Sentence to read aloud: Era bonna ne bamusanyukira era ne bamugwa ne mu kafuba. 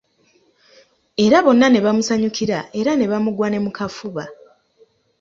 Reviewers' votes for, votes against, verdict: 2, 0, accepted